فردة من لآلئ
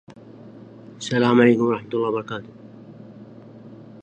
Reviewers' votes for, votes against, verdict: 1, 2, rejected